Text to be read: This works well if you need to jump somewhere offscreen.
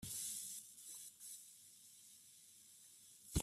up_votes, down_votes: 0, 2